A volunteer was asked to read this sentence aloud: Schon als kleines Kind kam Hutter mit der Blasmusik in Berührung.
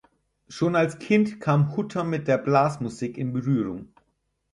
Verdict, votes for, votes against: rejected, 4, 6